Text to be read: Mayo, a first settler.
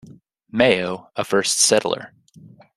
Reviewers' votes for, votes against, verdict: 2, 0, accepted